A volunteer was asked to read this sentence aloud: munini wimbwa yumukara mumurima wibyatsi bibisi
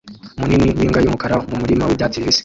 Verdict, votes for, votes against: rejected, 1, 2